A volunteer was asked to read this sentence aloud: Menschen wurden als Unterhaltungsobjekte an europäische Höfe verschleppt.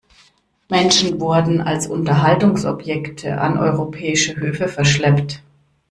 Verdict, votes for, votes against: rejected, 1, 2